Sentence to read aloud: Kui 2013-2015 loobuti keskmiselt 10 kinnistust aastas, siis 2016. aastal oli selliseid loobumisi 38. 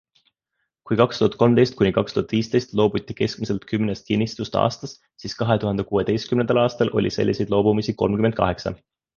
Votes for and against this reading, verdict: 0, 2, rejected